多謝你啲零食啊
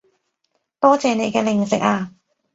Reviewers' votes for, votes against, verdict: 0, 2, rejected